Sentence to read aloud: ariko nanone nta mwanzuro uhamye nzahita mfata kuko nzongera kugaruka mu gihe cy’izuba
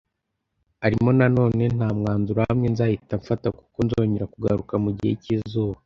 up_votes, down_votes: 1, 2